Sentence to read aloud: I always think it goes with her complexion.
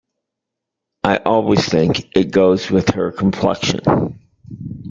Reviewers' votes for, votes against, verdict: 2, 0, accepted